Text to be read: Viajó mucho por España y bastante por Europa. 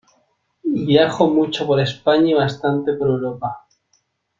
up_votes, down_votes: 0, 2